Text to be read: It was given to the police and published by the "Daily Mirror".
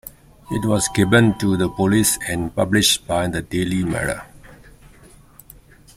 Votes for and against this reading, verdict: 2, 1, accepted